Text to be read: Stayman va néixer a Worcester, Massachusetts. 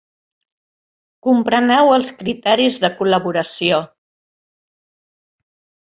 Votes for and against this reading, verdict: 0, 2, rejected